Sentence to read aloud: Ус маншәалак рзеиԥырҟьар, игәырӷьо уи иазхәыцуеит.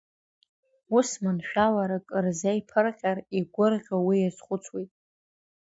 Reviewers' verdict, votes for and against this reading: accepted, 2, 0